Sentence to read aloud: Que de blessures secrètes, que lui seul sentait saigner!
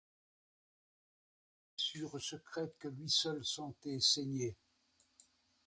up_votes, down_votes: 1, 2